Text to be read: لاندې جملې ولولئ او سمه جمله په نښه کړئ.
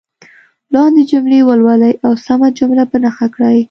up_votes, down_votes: 2, 1